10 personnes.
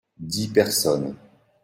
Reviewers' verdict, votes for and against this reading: rejected, 0, 2